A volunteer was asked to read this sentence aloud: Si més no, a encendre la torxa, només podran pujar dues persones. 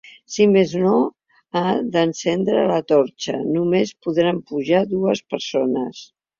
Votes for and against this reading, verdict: 0, 2, rejected